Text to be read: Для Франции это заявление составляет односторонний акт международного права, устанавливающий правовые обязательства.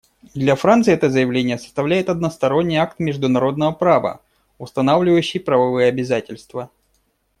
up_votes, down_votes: 2, 0